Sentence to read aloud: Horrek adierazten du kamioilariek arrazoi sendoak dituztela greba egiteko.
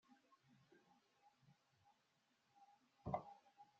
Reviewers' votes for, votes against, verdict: 0, 2, rejected